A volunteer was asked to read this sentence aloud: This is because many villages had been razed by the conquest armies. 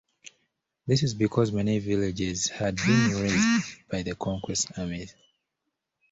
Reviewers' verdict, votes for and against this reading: accepted, 2, 1